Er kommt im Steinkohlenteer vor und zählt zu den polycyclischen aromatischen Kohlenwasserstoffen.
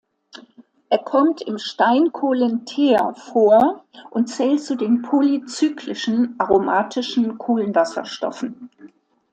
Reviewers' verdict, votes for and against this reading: accepted, 2, 0